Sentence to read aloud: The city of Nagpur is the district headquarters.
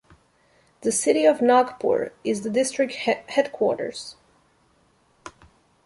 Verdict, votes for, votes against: rejected, 0, 2